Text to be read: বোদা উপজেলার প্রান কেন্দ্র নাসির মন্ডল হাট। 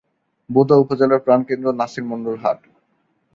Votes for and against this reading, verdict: 2, 0, accepted